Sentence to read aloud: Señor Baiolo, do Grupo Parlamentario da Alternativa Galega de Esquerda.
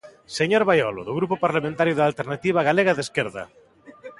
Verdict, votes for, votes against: rejected, 1, 2